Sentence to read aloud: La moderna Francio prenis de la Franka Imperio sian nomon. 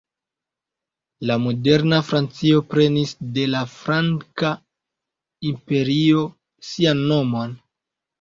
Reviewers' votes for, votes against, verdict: 1, 2, rejected